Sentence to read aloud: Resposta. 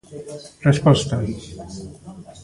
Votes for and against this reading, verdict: 0, 2, rejected